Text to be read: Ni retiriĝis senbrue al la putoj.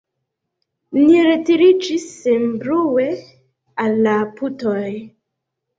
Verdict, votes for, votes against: rejected, 0, 2